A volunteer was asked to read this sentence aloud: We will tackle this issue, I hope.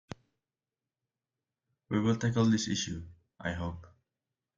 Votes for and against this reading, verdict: 2, 0, accepted